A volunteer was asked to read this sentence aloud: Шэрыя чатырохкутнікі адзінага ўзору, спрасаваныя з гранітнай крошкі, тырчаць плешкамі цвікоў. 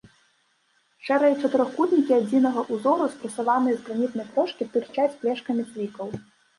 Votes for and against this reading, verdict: 1, 3, rejected